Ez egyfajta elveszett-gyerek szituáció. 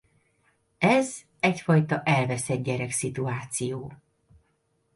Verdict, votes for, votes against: accepted, 2, 0